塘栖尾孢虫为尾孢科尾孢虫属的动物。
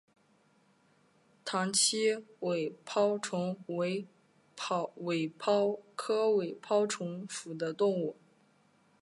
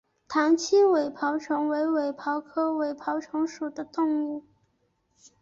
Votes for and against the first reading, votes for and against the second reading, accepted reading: 0, 2, 4, 0, second